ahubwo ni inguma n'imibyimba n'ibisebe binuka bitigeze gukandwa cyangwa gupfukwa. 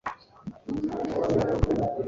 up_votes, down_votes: 1, 4